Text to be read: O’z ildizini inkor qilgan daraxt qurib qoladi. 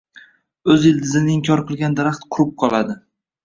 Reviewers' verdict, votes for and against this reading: accepted, 2, 0